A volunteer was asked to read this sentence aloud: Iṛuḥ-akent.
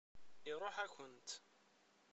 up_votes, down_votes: 1, 2